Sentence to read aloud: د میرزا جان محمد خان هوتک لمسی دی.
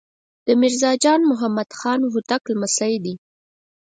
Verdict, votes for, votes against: accepted, 4, 0